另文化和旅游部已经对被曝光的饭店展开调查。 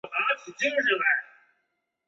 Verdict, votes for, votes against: rejected, 2, 3